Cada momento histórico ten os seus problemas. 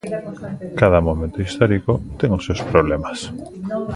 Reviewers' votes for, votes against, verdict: 2, 1, accepted